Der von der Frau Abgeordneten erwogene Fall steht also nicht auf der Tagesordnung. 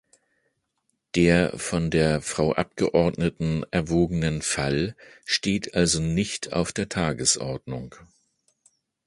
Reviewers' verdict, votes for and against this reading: rejected, 0, 2